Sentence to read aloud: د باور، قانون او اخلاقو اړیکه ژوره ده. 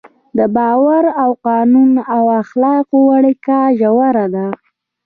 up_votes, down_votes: 3, 0